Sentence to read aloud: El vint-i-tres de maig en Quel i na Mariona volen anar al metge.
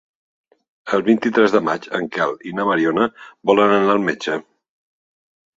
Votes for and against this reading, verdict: 3, 0, accepted